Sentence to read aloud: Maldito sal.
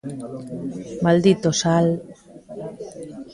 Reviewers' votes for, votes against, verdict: 2, 0, accepted